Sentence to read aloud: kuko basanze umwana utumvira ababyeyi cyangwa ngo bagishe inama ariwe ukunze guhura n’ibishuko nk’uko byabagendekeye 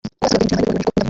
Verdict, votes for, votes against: rejected, 0, 2